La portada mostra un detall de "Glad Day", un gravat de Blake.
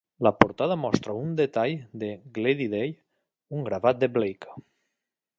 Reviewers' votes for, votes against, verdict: 1, 2, rejected